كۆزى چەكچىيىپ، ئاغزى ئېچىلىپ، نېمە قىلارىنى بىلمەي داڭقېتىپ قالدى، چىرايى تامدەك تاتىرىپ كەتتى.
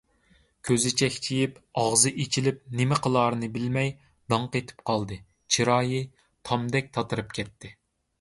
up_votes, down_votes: 2, 0